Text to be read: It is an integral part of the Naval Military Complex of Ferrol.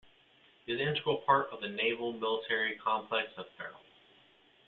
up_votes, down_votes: 0, 2